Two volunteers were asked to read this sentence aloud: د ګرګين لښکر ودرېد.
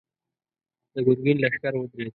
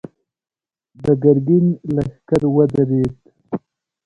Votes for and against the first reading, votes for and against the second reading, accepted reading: 1, 2, 2, 1, second